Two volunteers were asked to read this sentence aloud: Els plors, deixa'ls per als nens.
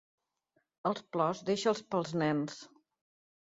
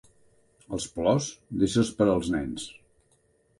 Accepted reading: second